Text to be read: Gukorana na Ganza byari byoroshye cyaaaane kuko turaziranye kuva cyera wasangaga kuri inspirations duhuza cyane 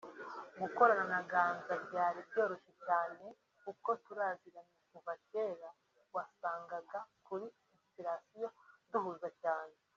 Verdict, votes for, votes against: accepted, 2, 1